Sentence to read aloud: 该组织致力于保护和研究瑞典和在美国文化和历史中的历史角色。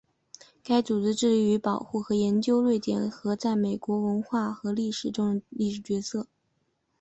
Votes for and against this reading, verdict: 2, 0, accepted